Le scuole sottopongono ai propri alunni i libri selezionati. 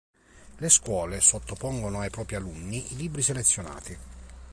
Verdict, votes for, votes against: accepted, 2, 0